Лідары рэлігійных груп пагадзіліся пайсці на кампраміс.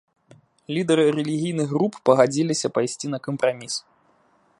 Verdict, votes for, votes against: accepted, 2, 0